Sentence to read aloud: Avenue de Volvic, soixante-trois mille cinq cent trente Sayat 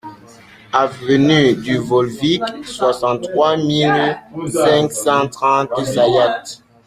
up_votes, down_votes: 1, 2